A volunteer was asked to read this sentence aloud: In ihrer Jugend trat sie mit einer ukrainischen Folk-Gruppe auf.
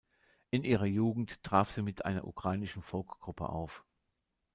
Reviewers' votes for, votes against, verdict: 1, 2, rejected